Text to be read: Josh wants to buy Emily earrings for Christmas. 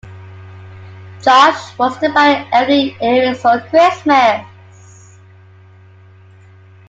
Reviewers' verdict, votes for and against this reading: rejected, 1, 2